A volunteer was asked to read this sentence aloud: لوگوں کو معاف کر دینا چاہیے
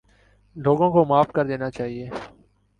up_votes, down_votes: 1, 2